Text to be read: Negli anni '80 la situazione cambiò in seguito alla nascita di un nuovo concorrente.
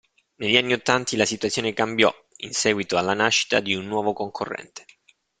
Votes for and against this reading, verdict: 0, 2, rejected